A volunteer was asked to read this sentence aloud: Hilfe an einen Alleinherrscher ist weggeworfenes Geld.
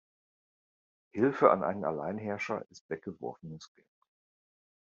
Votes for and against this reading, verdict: 1, 2, rejected